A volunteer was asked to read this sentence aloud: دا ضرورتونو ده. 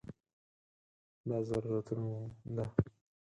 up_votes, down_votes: 0, 4